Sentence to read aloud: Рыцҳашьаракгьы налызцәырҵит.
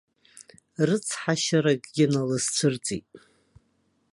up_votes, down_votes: 1, 2